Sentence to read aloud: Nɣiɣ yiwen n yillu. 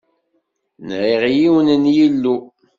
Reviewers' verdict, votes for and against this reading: accepted, 2, 0